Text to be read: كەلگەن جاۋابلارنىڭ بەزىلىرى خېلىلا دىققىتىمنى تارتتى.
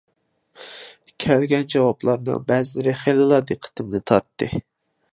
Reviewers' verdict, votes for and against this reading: accepted, 2, 0